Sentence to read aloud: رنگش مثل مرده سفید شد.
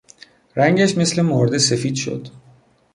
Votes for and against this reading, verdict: 2, 0, accepted